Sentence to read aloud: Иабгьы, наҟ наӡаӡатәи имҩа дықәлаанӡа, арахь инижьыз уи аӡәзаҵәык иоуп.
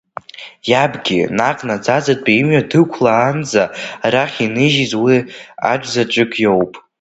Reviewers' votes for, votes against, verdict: 1, 2, rejected